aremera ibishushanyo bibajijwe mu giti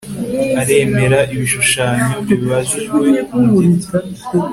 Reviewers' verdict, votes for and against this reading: accepted, 2, 0